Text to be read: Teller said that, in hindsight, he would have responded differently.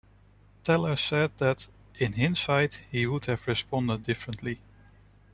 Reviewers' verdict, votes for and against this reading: rejected, 1, 2